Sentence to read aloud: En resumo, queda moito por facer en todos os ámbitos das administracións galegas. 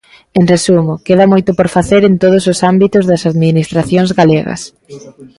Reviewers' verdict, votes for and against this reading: accepted, 2, 0